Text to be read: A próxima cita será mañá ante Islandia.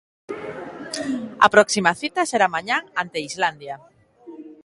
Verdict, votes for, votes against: accepted, 2, 0